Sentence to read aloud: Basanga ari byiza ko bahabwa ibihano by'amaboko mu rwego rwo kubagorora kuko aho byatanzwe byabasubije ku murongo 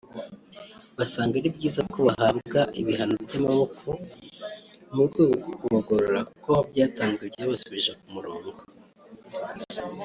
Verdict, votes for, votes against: rejected, 0, 2